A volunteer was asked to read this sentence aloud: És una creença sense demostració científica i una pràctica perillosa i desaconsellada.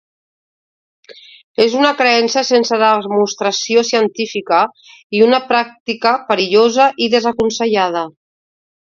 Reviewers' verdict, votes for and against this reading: accepted, 2, 0